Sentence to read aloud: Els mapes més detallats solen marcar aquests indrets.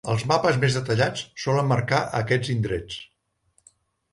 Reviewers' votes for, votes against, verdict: 3, 0, accepted